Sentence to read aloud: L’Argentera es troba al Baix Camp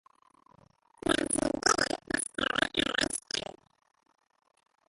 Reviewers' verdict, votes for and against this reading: rejected, 0, 2